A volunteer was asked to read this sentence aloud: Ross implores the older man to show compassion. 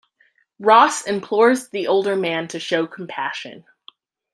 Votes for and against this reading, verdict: 2, 0, accepted